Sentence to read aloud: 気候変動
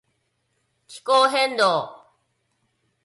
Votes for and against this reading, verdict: 4, 2, accepted